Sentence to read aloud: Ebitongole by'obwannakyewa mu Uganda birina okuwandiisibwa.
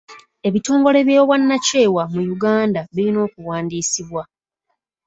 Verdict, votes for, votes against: accepted, 2, 0